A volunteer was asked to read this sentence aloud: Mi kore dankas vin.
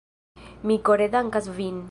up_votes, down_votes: 1, 2